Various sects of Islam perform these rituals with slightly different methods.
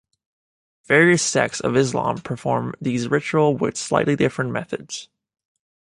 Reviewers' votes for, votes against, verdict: 1, 2, rejected